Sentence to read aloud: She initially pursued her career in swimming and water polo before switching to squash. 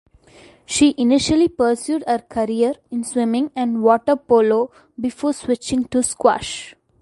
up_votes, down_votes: 2, 0